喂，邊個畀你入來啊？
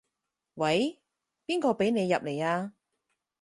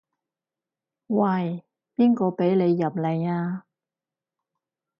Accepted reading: first